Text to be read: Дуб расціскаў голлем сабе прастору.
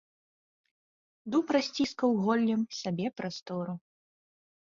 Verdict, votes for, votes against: rejected, 1, 2